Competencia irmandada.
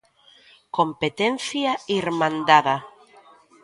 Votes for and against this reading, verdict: 2, 0, accepted